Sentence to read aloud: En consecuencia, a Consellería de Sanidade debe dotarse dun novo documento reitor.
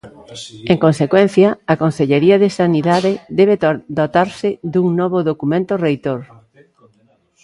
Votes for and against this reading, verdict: 0, 4, rejected